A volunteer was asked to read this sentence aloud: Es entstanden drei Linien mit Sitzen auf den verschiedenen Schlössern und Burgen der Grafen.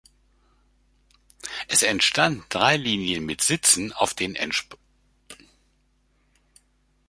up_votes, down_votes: 0, 2